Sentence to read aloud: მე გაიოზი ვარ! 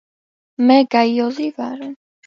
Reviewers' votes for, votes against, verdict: 2, 0, accepted